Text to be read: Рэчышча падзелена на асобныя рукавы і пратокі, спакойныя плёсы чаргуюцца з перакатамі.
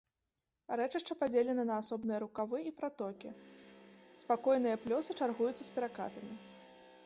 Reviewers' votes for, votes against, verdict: 2, 0, accepted